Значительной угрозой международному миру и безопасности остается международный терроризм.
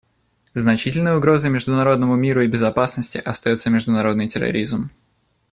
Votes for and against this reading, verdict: 2, 0, accepted